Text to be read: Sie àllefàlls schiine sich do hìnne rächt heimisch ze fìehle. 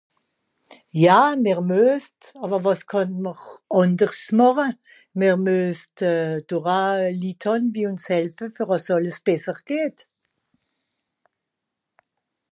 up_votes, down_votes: 0, 2